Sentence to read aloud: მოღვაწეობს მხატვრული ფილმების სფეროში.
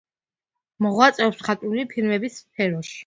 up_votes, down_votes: 2, 1